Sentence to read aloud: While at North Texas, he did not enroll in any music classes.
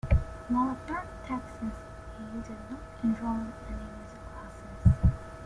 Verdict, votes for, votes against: rejected, 1, 2